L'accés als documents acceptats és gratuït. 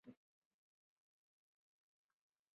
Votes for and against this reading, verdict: 0, 2, rejected